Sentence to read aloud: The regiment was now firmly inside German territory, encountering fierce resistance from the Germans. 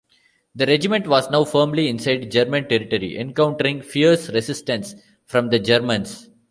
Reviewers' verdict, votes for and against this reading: rejected, 1, 2